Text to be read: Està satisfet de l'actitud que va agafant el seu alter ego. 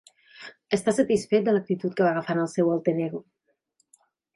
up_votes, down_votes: 2, 0